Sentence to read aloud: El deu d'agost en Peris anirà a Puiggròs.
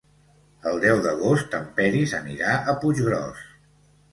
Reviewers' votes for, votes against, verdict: 2, 0, accepted